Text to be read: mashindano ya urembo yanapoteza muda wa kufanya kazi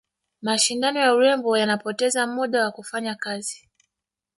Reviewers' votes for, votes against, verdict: 1, 2, rejected